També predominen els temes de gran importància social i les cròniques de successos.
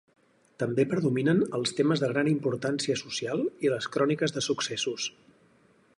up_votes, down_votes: 4, 0